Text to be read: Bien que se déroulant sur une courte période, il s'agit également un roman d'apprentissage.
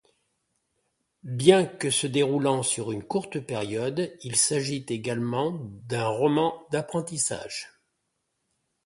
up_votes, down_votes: 1, 2